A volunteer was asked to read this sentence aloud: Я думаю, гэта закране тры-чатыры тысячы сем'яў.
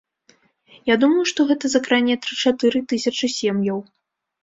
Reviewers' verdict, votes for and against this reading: rejected, 1, 2